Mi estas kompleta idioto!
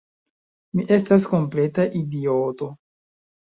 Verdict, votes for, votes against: accepted, 2, 0